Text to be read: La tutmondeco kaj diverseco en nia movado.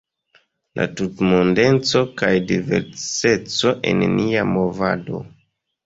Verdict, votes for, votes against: rejected, 1, 2